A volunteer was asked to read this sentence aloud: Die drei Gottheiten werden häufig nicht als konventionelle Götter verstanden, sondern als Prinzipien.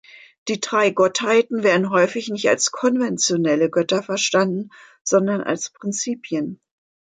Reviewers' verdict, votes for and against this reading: accepted, 2, 0